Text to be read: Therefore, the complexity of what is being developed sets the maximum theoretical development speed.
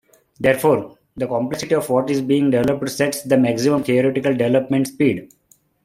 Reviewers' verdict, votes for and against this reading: accepted, 3, 1